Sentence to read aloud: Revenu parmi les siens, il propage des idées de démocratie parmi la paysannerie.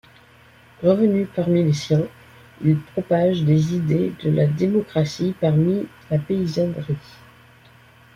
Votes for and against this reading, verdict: 0, 2, rejected